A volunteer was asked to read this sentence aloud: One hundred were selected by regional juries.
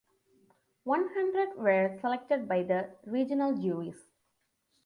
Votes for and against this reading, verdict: 1, 2, rejected